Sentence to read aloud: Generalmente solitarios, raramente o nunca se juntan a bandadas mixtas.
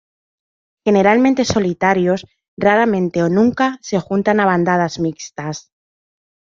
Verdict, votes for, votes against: accepted, 2, 0